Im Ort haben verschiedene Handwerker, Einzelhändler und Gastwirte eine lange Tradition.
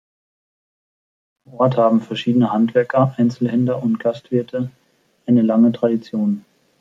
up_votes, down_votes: 1, 2